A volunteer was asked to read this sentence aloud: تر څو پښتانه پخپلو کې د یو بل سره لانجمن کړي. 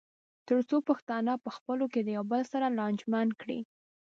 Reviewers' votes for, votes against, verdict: 2, 0, accepted